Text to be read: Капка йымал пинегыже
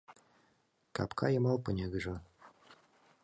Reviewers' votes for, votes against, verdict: 2, 0, accepted